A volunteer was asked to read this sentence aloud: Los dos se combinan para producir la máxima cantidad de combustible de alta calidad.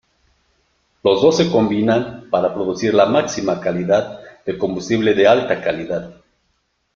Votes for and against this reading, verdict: 0, 2, rejected